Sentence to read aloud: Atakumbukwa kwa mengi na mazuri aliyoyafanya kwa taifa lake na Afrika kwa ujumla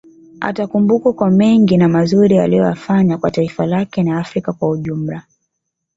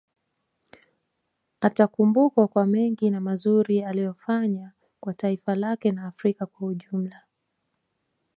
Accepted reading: first